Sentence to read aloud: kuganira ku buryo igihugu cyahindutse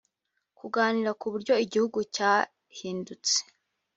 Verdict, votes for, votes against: accepted, 2, 0